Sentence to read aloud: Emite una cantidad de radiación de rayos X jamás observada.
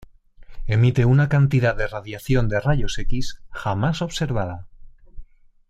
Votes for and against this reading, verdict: 2, 0, accepted